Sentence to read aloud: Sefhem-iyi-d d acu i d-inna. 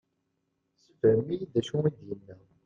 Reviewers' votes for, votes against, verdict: 1, 2, rejected